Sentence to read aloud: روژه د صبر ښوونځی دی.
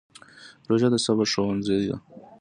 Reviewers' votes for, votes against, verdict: 2, 0, accepted